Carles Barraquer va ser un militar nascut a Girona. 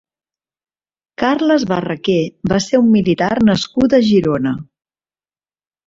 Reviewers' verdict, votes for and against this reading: accepted, 4, 0